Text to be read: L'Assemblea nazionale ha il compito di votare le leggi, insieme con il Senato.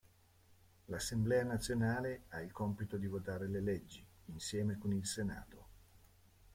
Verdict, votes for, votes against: rejected, 1, 2